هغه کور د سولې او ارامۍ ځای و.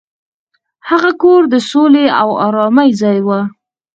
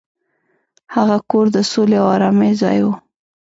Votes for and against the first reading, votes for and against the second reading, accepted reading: 2, 4, 2, 0, second